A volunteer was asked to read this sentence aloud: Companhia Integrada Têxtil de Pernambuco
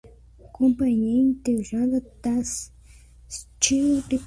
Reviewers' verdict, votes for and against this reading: rejected, 0, 2